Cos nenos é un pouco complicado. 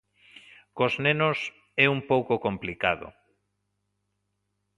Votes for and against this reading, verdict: 2, 0, accepted